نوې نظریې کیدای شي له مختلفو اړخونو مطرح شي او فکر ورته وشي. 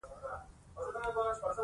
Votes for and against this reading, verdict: 1, 2, rejected